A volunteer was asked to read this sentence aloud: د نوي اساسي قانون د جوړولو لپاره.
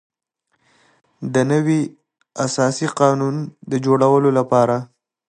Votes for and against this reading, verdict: 2, 0, accepted